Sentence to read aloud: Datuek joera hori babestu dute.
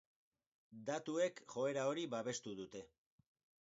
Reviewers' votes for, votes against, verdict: 2, 4, rejected